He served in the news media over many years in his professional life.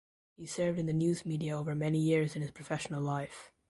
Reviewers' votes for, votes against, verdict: 0, 2, rejected